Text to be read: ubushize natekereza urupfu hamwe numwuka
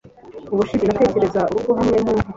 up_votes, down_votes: 0, 2